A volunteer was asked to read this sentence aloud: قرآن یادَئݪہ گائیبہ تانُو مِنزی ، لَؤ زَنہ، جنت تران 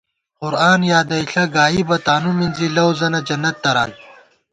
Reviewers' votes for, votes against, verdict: 2, 0, accepted